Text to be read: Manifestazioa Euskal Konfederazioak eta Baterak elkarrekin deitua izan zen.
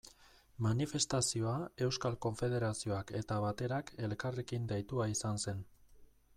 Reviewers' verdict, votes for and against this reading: accepted, 2, 0